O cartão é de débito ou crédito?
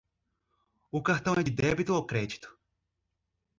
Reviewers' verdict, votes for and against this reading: rejected, 1, 2